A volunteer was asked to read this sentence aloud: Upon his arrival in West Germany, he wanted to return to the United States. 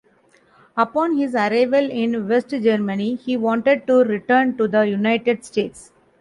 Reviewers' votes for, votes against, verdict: 0, 2, rejected